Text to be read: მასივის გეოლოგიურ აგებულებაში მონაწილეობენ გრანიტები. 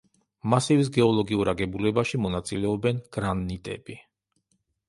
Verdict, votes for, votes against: rejected, 0, 2